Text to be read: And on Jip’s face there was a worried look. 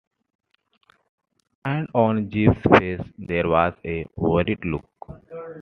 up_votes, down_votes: 2, 0